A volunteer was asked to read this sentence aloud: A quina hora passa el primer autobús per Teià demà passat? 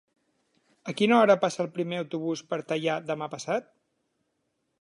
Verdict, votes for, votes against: accepted, 4, 0